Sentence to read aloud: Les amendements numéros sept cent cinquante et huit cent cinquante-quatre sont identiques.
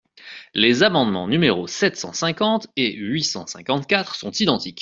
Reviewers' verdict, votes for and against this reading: accepted, 2, 0